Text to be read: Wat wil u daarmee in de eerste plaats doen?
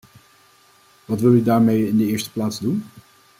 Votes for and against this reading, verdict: 2, 0, accepted